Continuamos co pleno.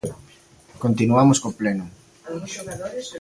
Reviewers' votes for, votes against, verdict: 0, 2, rejected